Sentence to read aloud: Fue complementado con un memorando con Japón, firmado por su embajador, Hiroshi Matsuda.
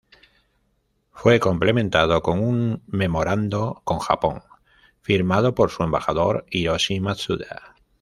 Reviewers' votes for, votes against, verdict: 1, 2, rejected